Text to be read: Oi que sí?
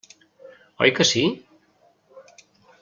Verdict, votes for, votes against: accepted, 2, 0